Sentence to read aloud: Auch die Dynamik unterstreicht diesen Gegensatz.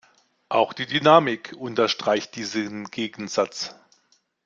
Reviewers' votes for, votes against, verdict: 2, 0, accepted